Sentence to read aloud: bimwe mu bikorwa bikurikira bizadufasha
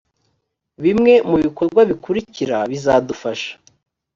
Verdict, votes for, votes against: accepted, 3, 0